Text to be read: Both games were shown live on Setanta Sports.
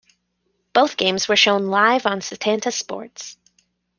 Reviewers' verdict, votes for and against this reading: accepted, 2, 0